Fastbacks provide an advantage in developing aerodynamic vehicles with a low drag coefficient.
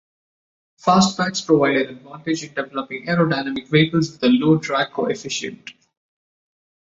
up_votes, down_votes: 1, 2